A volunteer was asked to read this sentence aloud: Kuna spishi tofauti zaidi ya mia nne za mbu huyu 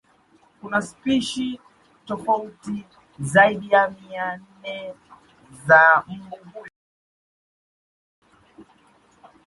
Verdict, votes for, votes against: rejected, 0, 2